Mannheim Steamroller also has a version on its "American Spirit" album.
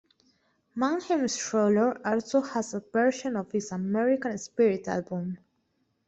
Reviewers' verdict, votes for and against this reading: rejected, 0, 2